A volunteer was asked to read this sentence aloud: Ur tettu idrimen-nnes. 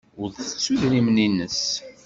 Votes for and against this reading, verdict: 2, 0, accepted